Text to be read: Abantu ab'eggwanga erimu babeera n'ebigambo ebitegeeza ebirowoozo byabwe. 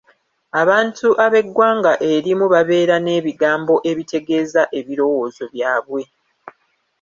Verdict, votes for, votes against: rejected, 0, 2